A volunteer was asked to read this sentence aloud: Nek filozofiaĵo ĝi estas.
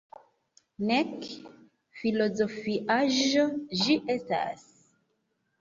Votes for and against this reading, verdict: 4, 1, accepted